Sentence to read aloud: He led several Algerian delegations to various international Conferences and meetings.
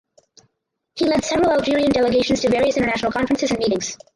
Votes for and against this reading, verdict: 0, 4, rejected